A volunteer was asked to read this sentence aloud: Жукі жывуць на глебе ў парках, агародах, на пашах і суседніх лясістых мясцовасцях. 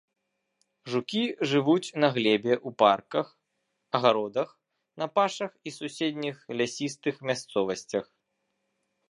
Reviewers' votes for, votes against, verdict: 2, 0, accepted